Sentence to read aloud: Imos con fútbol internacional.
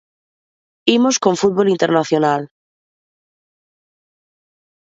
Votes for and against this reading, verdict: 2, 0, accepted